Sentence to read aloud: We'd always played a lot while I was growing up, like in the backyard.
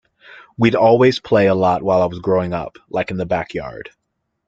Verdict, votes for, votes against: rejected, 0, 2